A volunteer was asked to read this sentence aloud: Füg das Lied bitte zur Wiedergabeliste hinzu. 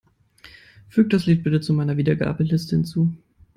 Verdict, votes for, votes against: rejected, 0, 2